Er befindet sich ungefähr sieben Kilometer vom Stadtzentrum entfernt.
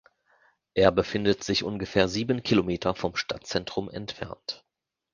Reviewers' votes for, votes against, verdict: 2, 0, accepted